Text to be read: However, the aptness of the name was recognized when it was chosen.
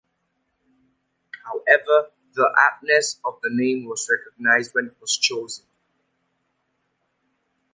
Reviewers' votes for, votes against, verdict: 2, 0, accepted